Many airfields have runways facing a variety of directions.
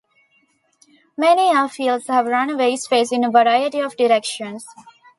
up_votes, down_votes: 1, 2